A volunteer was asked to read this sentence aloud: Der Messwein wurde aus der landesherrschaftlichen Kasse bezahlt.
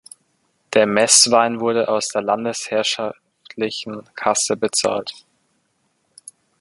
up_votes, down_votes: 0, 2